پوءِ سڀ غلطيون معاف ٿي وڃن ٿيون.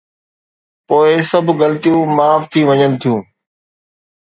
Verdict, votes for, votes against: accepted, 2, 0